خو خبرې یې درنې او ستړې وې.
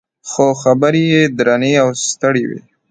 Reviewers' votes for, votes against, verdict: 2, 0, accepted